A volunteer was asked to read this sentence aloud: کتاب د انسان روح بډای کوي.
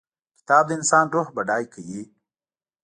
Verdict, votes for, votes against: rejected, 0, 2